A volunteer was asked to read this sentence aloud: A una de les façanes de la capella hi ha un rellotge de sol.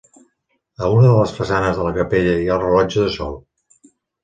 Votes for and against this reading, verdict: 1, 2, rejected